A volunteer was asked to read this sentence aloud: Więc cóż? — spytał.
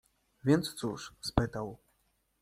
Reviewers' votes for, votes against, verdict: 2, 0, accepted